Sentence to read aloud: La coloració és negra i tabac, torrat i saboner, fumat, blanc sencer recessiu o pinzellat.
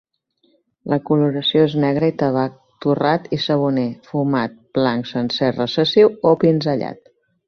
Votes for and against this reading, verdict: 3, 0, accepted